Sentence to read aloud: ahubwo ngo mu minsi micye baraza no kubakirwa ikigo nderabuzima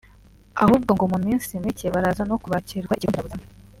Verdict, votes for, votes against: rejected, 1, 2